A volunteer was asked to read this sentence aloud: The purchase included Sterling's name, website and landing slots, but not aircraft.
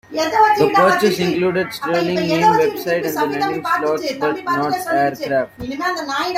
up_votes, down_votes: 0, 2